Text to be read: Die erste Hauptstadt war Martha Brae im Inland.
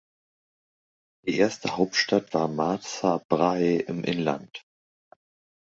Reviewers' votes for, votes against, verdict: 1, 2, rejected